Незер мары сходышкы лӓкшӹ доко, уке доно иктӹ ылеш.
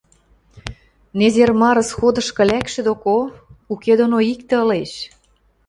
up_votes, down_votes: 2, 0